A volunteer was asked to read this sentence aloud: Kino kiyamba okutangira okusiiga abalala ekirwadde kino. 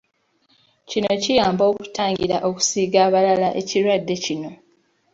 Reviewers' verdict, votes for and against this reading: accepted, 2, 0